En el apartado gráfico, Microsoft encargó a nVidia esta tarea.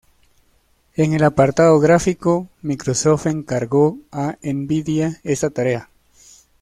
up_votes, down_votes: 2, 1